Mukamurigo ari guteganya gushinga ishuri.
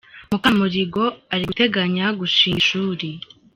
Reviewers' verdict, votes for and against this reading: accepted, 2, 0